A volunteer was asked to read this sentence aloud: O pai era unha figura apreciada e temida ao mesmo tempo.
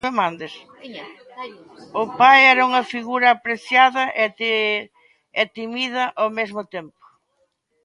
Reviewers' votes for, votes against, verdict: 1, 2, rejected